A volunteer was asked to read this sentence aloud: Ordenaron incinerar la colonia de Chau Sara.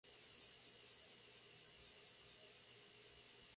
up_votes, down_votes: 0, 4